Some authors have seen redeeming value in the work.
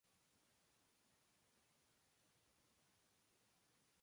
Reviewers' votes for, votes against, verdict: 0, 2, rejected